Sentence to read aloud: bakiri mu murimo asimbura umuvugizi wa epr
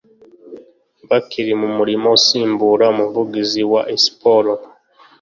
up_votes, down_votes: 1, 2